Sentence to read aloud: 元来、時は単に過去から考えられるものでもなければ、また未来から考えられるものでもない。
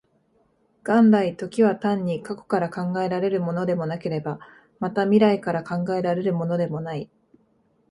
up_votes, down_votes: 2, 0